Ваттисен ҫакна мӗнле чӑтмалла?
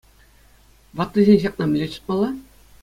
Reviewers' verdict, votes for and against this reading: accepted, 2, 0